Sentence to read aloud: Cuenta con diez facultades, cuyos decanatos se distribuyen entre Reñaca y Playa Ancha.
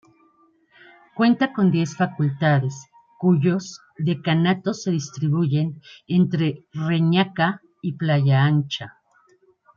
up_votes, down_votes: 1, 2